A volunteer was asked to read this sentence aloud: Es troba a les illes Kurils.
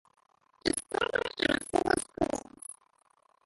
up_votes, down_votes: 0, 4